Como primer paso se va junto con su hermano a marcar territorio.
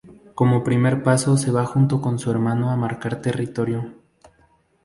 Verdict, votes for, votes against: accepted, 2, 0